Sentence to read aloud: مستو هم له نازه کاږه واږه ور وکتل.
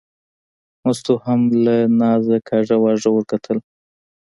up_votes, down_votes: 2, 0